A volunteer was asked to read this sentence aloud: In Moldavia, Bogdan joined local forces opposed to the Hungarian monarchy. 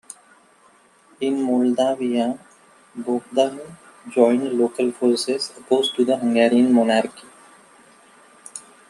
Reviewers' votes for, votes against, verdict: 2, 1, accepted